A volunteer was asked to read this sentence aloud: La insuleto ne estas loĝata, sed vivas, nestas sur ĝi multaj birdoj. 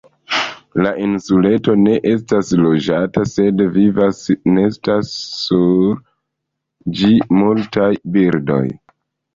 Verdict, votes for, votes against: accepted, 2, 0